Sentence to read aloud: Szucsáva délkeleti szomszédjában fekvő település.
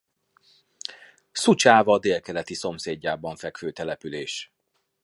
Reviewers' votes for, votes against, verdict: 2, 0, accepted